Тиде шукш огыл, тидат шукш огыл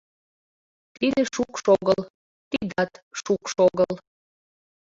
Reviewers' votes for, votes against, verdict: 0, 2, rejected